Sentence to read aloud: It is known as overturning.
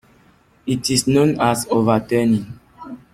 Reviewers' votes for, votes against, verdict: 2, 0, accepted